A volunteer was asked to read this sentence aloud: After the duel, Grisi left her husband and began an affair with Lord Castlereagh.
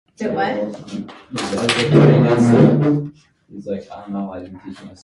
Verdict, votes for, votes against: rejected, 0, 2